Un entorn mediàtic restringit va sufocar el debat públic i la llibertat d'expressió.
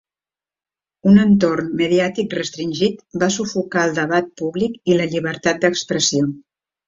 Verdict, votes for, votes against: accepted, 3, 1